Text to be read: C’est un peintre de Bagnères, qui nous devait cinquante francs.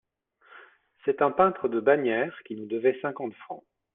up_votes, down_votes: 2, 0